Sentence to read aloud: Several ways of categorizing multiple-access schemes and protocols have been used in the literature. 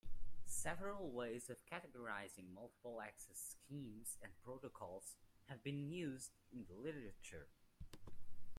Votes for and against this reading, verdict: 2, 1, accepted